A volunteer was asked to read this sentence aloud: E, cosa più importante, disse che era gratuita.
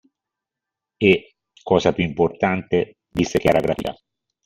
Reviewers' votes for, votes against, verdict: 0, 2, rejected